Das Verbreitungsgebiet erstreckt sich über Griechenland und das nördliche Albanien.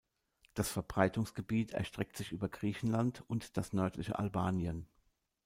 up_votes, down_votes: 2, 0